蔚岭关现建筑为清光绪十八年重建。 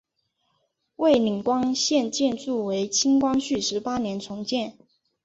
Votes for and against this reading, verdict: 4, 0, accepted